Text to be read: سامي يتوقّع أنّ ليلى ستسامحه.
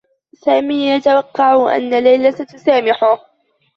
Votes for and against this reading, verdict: 2, 1, accepted